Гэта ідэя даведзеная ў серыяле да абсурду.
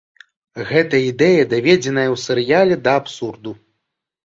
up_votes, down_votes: 2, 0